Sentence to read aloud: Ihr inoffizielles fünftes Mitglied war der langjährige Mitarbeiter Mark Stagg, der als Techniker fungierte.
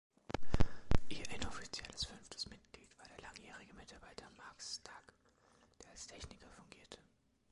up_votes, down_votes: 2, 1